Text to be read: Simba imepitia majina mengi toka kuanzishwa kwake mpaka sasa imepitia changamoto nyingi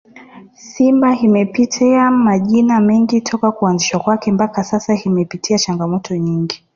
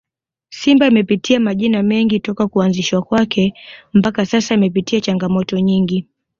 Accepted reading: second